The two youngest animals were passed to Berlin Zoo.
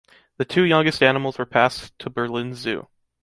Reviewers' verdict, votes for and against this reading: accepted, 2, 0